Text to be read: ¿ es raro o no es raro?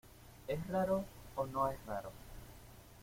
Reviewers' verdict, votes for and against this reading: accepted, 2, 1